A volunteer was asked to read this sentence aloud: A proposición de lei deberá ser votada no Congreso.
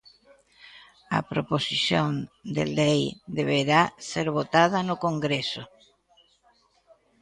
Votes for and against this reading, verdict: 2, 0, accepted